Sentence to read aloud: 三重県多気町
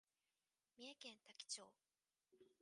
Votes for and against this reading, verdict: 2, 3, rejected